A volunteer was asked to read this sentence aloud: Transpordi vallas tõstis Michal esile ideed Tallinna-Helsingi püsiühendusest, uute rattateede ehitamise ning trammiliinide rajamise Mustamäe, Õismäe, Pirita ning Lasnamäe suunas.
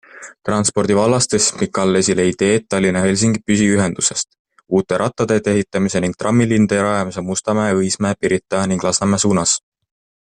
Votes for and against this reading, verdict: 2, 0, accepted